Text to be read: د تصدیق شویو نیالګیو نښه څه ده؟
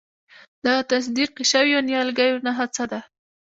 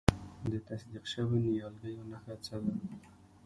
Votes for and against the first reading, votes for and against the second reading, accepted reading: 1, 2, 2, 1, second